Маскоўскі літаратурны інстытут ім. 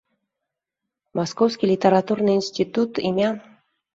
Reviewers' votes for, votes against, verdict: 1, 3, rejected